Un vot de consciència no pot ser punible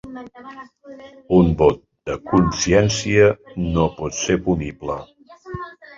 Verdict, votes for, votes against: rejected, 1, 2